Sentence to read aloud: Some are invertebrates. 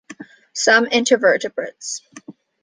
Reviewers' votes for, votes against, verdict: 0, 2, rejected